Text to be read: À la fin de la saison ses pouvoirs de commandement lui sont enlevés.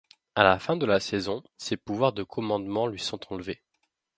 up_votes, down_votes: 2, 0